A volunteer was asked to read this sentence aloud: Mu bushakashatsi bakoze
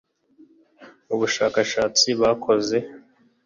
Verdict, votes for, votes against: accepted, 3, 0